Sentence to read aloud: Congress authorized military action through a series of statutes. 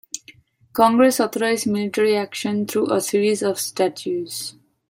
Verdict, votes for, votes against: rejected, 0, 2